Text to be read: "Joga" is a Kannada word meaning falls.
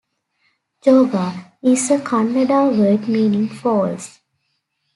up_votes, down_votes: 2, 0